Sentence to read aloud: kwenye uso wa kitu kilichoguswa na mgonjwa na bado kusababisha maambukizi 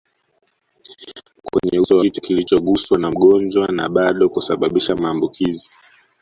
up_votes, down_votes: 0, 2